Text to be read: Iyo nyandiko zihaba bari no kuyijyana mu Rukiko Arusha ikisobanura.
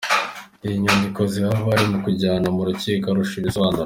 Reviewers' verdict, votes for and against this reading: accepted, 2, 0